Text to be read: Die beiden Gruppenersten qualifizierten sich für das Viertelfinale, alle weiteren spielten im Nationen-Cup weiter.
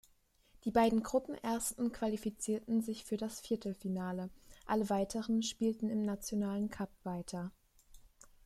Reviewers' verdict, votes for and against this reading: rejected, 0, 2